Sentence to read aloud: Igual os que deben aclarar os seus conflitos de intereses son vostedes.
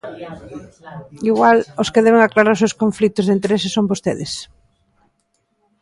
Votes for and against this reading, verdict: 1, 2, rejected